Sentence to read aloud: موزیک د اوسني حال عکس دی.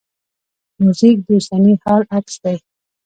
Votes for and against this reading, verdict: 1, 2, rejected